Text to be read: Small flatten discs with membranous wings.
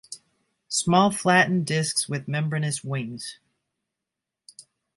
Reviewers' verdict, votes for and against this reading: accepted, 4, 0